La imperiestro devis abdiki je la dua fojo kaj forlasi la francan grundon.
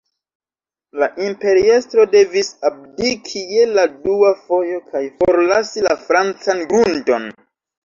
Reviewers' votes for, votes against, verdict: 1, 2, rejected